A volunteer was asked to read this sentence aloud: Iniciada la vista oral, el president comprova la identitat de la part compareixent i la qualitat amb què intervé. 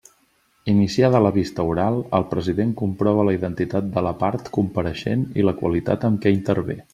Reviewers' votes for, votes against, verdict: 2, 0, accepted